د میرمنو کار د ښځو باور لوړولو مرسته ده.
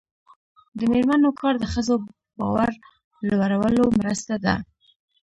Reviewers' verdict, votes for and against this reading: rejected, 0, 2